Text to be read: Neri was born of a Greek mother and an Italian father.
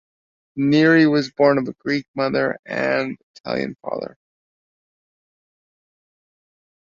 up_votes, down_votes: 0, 2